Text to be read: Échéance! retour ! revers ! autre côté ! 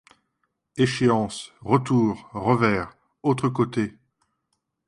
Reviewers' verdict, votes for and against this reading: accepted, 2, 0